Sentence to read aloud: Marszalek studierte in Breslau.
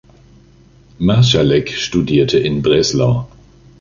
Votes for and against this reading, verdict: 3, 1, accepted